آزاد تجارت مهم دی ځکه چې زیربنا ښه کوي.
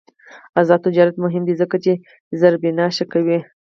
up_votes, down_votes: 4, 0